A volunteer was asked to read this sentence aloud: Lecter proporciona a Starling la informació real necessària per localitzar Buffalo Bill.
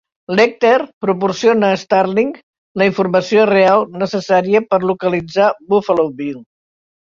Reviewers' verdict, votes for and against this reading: accepted, 2, 0